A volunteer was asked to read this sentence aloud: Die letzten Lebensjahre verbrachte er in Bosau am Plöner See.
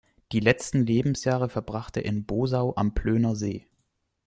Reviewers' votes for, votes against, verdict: 2, 0, accepted